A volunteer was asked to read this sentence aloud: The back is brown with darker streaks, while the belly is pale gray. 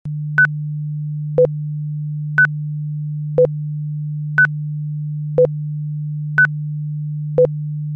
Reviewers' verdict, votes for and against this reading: rejected, 0, 2